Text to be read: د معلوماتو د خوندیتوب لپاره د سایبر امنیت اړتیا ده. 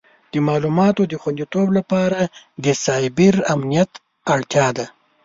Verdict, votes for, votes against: accepted, 2, 0